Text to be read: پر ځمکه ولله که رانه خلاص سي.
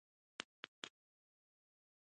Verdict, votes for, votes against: rejected, 1, 2